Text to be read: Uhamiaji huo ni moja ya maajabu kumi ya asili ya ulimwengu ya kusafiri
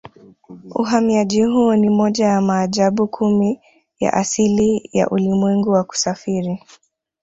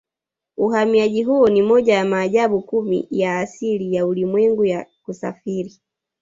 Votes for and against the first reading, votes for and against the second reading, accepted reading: 2, 0, 1, 2, first